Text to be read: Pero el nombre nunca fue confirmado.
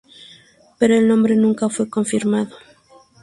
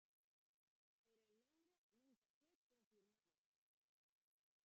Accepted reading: first